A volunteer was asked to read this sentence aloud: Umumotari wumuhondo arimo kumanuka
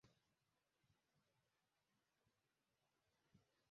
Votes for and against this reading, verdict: 0, 2, rejected